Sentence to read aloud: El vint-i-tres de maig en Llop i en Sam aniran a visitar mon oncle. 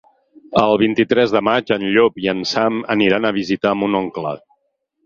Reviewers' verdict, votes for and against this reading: accepted, 6, 0